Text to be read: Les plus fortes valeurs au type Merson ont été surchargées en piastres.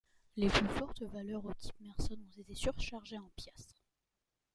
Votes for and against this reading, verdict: 2, 0, accepted